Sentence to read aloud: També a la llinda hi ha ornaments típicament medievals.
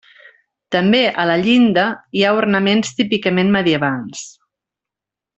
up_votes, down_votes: 2, 0